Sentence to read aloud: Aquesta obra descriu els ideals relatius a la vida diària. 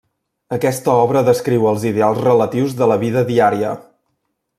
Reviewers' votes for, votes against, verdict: 0, 2, rejected